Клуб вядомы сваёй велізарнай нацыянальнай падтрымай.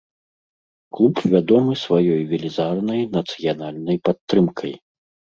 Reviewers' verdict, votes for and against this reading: rejected, 0, 2